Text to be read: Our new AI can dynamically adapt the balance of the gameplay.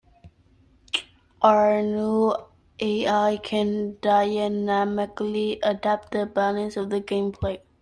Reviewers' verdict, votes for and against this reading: rejected, 1, 2